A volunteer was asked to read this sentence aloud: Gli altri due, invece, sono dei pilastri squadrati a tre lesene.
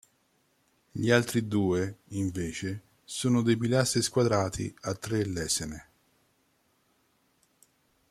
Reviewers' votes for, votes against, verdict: 1, 2, rejected